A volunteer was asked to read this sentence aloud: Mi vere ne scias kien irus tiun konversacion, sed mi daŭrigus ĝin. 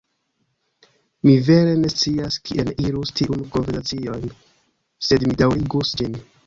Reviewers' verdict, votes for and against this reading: rejected, 1, 2